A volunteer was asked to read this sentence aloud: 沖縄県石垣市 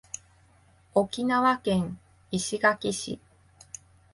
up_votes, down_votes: 8, 0